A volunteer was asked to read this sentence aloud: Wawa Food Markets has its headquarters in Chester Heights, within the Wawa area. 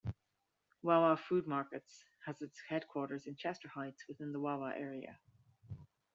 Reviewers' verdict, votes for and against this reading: accepted, 2, 1